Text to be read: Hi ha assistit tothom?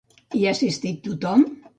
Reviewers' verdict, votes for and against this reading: accepted, 2, 0